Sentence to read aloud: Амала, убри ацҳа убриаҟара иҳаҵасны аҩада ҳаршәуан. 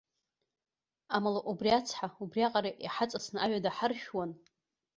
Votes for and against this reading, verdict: 1, 2, rejected